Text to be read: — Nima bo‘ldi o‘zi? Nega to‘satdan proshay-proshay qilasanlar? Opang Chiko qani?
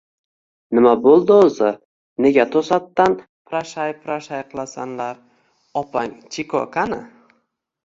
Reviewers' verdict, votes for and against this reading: rejected, 0, 2